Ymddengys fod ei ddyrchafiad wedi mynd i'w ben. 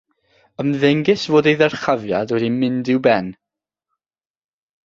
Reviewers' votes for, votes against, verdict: 0, 3, rejected